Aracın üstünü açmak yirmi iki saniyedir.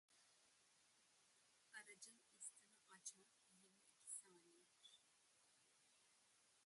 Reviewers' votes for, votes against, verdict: 0, 2, rejected